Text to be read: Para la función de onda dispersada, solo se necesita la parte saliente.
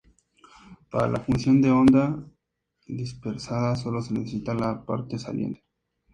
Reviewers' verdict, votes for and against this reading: rejected, 0, 2